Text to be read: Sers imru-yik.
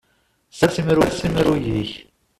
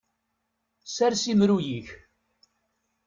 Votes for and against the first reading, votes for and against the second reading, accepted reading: 0, 2, 2, 0, second